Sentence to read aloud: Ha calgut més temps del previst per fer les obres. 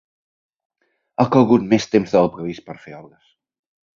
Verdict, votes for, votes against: rejected, 0, 2